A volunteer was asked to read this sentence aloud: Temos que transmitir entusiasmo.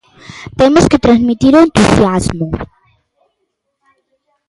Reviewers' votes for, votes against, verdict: 1, 2, rejected